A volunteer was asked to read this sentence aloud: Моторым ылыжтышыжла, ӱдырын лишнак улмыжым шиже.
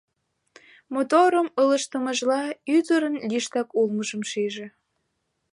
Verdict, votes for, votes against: rejected, 1, 2